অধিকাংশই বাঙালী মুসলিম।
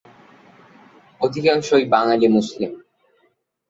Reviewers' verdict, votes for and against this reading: accepted, 2, 0